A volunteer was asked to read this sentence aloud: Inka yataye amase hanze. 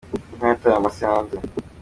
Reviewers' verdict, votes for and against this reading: accepted, 2, 1